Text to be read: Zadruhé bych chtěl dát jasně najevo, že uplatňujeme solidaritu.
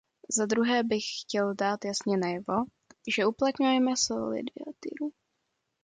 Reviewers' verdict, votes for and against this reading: rejected, 0, 2